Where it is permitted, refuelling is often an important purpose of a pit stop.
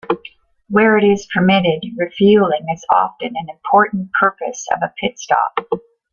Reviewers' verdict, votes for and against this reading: accepted, 2, 0